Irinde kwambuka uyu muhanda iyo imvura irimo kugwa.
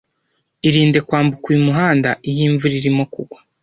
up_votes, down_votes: 2, 0